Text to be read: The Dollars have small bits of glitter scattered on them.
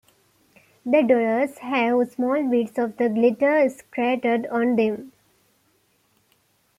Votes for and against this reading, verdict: 0, 2, rejected